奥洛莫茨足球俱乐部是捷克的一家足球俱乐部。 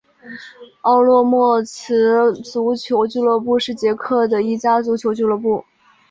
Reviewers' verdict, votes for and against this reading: accepted, 3, 0